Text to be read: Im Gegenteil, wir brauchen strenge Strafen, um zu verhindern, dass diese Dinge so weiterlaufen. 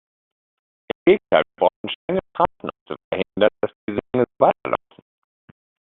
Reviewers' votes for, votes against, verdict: 0, 2, rejected